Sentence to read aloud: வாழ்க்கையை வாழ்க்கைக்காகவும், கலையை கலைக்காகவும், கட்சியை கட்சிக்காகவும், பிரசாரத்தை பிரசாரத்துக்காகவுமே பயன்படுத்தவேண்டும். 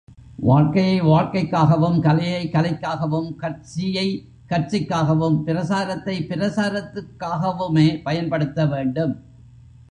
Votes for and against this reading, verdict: 1, 2, rejected